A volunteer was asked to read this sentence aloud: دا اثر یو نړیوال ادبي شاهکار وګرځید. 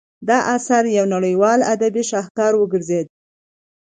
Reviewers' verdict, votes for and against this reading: accepted, 2, 0